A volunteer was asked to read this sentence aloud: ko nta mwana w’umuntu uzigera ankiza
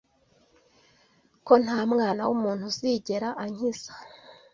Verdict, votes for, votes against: accepted, 2, 0